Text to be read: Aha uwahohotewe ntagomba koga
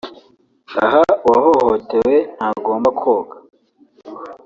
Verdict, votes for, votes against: accepted, 3, 0